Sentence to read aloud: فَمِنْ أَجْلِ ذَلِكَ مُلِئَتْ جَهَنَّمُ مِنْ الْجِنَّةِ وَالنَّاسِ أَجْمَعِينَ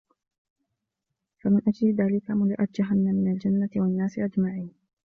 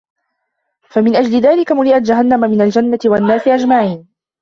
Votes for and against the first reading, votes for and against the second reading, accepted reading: 2, 0, 0, 2, first